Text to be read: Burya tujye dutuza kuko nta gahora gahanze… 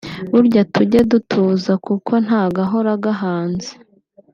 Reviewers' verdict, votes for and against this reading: accepted, 2, 0